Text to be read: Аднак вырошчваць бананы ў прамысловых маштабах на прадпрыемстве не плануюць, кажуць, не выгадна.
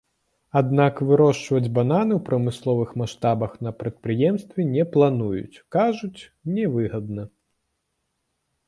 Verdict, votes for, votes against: rejected, 0, 2